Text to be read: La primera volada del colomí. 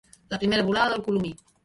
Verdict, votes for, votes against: rejected, 0, 2